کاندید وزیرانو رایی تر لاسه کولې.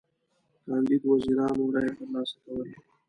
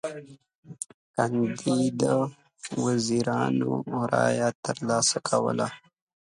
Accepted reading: first